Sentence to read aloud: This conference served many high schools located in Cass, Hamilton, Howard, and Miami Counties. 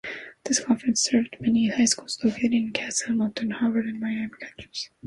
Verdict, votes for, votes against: rejected, 0, 2